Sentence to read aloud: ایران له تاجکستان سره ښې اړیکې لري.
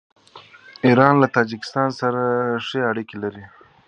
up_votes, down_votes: 2, 0